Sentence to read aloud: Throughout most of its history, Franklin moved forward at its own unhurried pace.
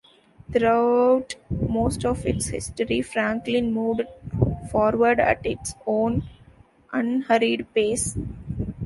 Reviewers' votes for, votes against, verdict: 2, 0, accepted